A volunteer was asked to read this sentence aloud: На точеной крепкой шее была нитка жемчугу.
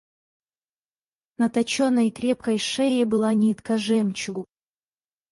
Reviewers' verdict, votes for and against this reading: rejected, 4, 6